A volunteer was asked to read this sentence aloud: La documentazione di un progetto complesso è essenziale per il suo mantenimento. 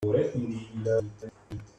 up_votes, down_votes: 0, 2